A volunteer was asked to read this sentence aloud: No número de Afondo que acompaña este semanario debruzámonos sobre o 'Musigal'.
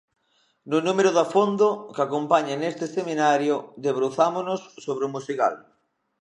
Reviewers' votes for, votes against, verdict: 0, 2, rejected